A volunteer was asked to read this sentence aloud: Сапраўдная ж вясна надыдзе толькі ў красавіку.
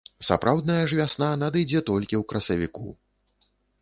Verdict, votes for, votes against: accepted, 2, 0